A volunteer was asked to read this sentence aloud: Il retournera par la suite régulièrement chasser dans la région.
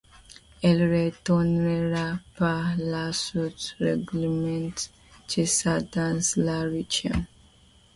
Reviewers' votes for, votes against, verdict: 2, 0, accepted